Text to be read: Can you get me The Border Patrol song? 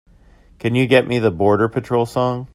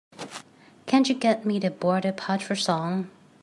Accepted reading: first